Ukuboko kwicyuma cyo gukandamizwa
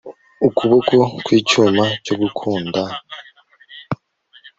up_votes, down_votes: 0, 2